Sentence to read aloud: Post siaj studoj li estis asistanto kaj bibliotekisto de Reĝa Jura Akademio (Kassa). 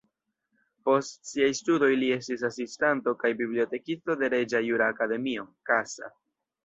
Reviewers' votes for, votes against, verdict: 1, 2, rejected